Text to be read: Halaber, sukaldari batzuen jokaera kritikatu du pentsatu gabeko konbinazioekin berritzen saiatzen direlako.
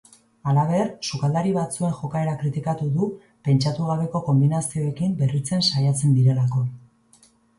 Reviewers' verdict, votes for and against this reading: accepted, 5, 0